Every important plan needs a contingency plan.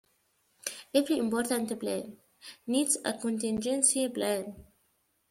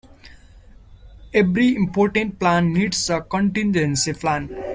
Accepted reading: second